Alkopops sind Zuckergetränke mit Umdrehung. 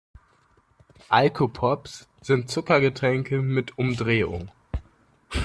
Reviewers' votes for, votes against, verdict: 2, 0, accepted